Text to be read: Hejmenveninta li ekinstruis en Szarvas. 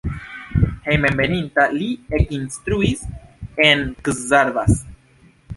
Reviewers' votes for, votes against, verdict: 2, 0, accepted